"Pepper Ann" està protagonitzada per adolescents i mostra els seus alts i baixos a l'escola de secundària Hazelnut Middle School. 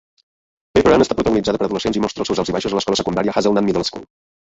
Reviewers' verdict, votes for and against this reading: rejected, 1, 2